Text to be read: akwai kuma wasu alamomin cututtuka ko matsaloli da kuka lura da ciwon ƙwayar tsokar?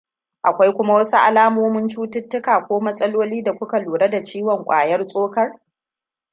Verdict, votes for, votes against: accepted, 2, 0